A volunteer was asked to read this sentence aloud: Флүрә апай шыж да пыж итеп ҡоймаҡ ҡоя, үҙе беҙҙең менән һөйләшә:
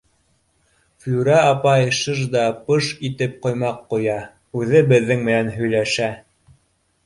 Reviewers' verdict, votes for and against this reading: accepted, 2, 0